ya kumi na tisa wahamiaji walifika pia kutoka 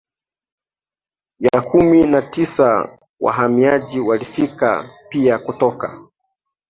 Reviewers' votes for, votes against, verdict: 2, 0, accepted